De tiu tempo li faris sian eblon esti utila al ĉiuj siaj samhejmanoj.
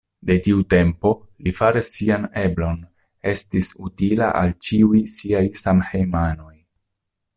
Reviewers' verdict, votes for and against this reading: rejected, 1, 2